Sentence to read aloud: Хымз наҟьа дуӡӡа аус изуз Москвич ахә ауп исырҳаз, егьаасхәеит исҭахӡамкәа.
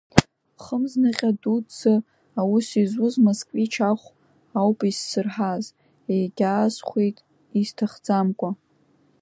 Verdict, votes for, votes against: rejected, 1, 2